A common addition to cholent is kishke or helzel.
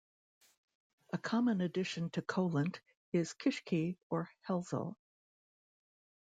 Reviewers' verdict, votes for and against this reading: rejected, 0, 2